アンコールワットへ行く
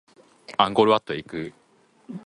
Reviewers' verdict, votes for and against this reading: accepted, 2, 0